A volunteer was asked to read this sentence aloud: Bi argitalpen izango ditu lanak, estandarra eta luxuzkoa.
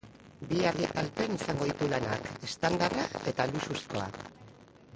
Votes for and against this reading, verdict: 2, 2, rejected